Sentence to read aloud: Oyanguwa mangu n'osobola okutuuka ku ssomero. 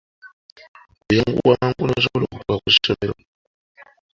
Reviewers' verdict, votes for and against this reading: rejected, 1, 2